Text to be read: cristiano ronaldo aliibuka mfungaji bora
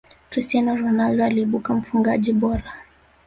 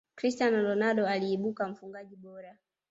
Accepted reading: second